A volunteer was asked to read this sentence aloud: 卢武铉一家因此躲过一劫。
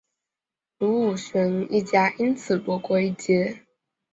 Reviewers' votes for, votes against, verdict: 2, 1, accepted